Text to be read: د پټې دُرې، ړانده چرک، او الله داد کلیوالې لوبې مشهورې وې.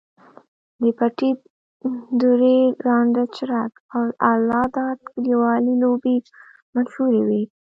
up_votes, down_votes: 1, 2